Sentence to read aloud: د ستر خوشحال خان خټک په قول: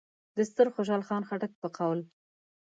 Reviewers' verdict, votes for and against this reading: accepted, 2, 0